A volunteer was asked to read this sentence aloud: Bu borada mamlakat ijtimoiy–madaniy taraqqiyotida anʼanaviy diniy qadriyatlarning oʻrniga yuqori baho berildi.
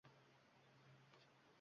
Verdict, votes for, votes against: rejected, 0, 2